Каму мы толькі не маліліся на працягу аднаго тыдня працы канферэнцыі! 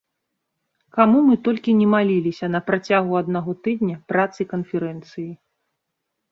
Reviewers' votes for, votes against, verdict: 2, 0, accepted